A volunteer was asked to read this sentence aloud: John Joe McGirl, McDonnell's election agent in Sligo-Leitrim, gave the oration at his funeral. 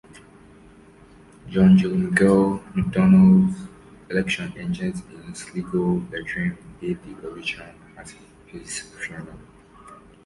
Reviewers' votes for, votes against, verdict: 1, 2, rejected